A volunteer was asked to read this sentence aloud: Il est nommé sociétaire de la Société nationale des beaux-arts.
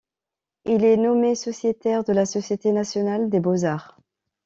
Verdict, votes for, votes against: accepted, 2, 0